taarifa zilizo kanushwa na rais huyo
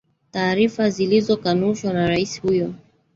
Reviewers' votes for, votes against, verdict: 2, 3, rejected